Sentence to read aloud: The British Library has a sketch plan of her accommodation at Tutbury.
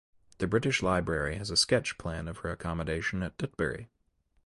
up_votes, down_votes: 2, 0